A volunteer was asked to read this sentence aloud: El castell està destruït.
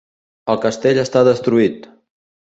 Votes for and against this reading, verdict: 2, 0, accepted